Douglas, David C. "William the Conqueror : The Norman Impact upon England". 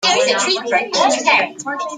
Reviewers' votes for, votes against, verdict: 0, 2, rejected